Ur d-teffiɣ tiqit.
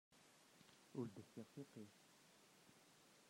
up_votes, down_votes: 0, 2